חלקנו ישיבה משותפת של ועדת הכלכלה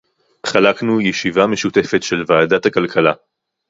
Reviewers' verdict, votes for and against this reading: rejected, 2, 2